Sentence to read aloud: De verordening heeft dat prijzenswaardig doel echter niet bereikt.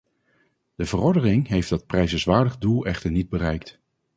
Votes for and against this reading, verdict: 0, 2, rejected